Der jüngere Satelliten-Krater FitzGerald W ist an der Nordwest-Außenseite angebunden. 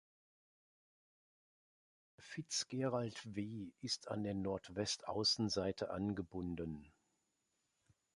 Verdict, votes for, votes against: rejected, 0, 3